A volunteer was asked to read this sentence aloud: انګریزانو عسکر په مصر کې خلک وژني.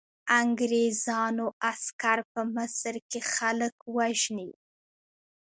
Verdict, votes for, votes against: rejected, 1, 2